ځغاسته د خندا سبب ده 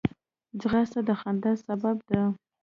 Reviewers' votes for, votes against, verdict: 1, 2, rejected